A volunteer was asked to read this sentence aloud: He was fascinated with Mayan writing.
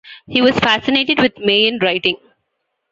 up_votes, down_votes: 1, 2